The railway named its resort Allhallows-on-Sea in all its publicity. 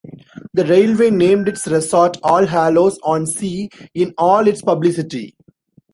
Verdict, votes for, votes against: rejected, 1, 2